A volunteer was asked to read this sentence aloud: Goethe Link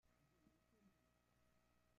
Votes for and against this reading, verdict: 0, 2, rejected